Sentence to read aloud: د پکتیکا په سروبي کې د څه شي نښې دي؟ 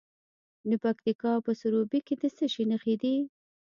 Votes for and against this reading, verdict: 2, 0, accepted